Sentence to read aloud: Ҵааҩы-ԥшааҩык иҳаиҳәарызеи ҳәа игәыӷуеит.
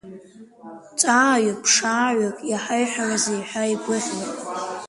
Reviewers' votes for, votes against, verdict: 0, 2, rejected